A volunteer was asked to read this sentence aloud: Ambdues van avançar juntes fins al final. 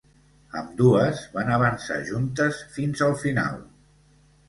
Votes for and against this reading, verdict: 2, 0, accepted